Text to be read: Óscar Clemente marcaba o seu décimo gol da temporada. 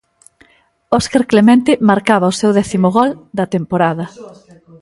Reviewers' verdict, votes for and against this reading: accepted, 2, 0